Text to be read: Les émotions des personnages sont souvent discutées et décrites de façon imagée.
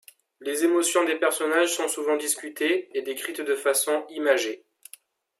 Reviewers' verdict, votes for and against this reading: accepted, 2, 0